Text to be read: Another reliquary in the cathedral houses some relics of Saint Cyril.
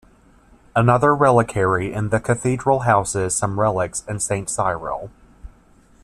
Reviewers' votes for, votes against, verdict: 1, 2, rejected